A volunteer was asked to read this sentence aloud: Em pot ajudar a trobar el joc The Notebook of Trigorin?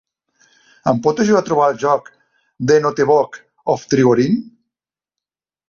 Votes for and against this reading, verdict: 1, 2, rejected